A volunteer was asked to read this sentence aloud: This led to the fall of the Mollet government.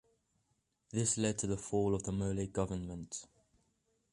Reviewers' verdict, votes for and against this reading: accepted, 2, 0